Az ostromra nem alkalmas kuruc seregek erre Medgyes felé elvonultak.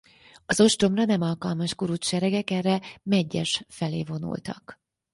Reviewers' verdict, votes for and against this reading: rejected, 0, 4